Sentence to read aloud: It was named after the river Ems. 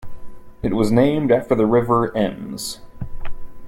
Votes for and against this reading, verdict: 2, 1, accepted